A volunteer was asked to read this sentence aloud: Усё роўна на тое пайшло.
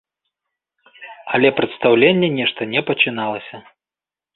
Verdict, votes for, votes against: rejected, 0, 2